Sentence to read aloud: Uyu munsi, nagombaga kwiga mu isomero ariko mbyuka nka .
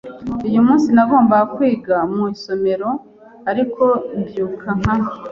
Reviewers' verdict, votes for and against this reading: accepted, 2, 0